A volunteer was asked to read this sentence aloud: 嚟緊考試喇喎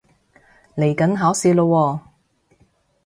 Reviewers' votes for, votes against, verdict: 3, 0, accepted